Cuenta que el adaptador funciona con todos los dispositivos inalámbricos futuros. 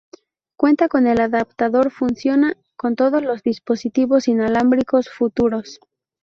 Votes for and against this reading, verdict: 0, 2, rejected